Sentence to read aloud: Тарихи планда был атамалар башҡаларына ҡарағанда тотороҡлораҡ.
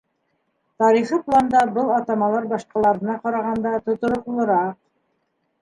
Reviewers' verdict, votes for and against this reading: rejected, 0, 2